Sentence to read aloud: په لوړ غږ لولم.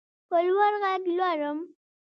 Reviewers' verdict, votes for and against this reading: accepted, 2, 1